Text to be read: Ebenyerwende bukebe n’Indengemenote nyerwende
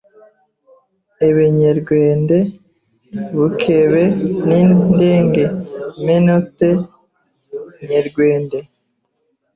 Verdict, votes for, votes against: rejected, 0, 2